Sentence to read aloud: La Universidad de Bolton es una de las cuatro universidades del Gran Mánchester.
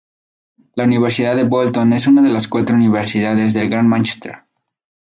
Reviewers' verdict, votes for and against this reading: accepted, 4, 0